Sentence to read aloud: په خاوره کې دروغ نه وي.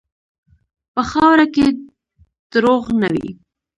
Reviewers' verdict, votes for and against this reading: accepted, 2, 1